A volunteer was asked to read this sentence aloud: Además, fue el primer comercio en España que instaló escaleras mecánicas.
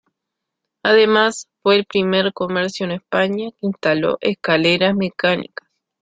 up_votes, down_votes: 2, 1